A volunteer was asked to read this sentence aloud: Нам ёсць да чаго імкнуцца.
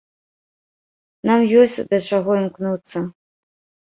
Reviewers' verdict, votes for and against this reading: accepted, 2, 0